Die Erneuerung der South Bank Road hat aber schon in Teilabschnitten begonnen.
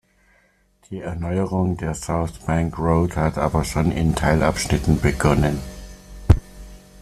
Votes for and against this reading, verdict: 2, 0, accepted